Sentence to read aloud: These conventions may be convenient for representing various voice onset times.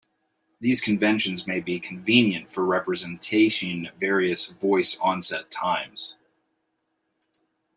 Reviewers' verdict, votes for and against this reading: accepted, 2, 0